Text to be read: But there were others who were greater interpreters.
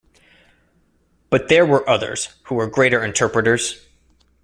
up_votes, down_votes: 2, 0